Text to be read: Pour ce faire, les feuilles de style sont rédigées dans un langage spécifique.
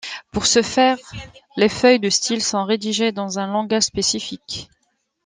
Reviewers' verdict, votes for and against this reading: accepted, 2, 0